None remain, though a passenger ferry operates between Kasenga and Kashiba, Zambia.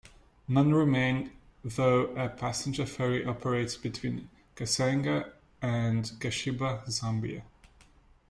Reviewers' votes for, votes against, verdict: 2, 0, accepted